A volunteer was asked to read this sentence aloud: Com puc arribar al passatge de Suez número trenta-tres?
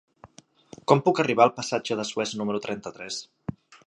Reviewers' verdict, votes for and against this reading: accepted, 2, 0